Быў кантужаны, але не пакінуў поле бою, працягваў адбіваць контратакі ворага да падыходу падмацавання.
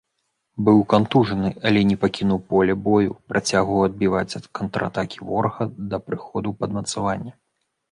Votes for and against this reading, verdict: 1, 2, rejected